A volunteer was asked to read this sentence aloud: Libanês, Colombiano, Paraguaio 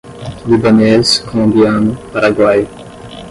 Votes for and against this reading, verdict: 5, 10, rejected